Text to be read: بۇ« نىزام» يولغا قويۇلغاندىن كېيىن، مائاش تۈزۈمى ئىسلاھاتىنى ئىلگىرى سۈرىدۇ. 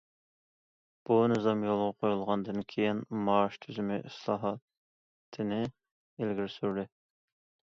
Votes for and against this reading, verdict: 1, 2, rejected